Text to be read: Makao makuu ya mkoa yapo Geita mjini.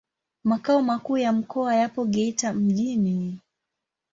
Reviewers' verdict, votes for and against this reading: accepted, 2, 0